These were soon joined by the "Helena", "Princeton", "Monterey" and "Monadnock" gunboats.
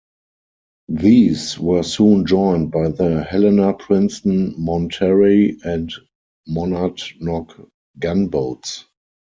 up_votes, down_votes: 4, 0